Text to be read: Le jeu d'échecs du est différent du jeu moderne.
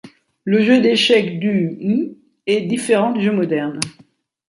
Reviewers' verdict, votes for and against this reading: rejected, 1, 2